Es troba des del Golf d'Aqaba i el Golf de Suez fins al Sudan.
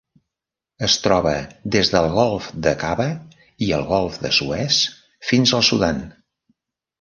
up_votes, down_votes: 0, 2